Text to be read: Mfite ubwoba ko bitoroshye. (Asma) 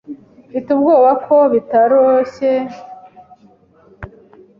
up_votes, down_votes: 0, 2